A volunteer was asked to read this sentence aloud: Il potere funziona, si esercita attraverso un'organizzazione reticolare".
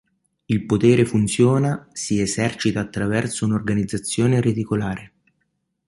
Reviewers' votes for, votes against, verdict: 2, 0, accepted